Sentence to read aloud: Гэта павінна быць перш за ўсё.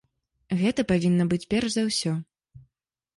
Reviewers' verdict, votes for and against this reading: accepted, 2, 0